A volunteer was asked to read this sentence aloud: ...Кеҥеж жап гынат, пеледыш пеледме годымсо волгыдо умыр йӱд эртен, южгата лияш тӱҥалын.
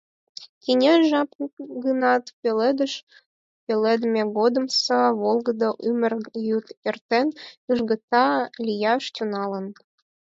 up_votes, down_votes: 2, 4